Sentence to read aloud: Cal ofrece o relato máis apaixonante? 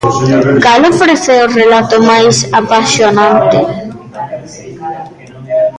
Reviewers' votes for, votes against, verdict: 0, 2, rejected